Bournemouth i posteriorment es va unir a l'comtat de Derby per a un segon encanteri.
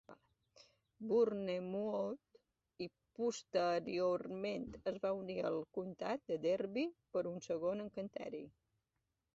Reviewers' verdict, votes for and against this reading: rejected, 2, 4